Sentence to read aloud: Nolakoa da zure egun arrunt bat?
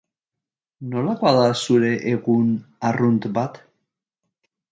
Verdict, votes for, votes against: accepted, 3, 0